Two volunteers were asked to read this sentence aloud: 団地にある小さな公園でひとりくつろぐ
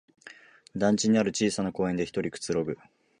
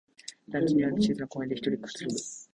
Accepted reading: first